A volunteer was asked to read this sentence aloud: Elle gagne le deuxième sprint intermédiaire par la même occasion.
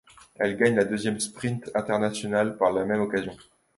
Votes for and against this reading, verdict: 0, 2, rejected